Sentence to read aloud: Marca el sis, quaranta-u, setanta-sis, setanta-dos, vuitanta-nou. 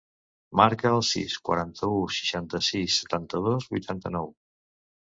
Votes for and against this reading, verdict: 1, 2, rejected